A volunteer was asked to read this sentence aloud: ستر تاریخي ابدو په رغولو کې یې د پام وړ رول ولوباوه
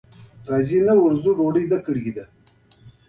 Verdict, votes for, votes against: rejected, 1, 2